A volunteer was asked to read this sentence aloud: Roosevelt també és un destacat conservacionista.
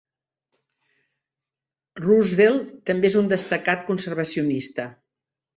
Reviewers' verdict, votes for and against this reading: accepted, 3, 0